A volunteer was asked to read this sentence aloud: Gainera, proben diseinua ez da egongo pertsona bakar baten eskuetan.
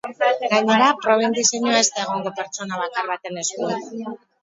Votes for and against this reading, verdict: 2, 2, rejected